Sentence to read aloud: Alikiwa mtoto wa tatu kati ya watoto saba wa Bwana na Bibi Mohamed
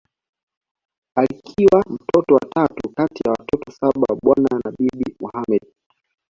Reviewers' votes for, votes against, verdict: 2, 0, accepted